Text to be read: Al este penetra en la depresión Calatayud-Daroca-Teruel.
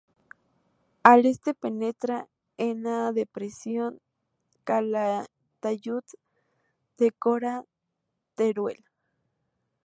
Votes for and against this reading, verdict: 0, 2, rejected